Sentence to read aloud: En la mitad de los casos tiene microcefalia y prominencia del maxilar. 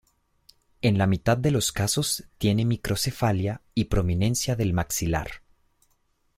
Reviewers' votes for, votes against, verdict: 2, 0, accepted